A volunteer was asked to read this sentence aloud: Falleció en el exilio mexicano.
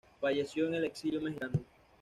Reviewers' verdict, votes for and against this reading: accepted, 2, 0